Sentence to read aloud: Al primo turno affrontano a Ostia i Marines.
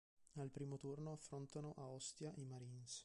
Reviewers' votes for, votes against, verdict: 1, 2, rejected